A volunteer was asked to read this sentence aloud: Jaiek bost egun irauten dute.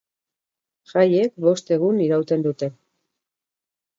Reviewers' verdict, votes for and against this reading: accepted, 4, 0